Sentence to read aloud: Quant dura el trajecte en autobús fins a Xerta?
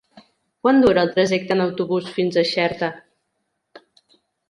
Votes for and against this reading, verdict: 2, 0, accepted